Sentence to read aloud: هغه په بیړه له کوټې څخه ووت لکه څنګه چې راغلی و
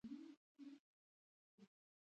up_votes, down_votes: 1, 2